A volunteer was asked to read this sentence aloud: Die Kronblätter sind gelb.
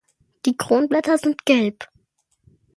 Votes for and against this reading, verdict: 2, 0, accepted